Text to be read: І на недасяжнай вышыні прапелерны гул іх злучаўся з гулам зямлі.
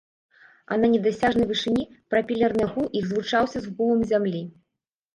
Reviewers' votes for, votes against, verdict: 1, 2, rejected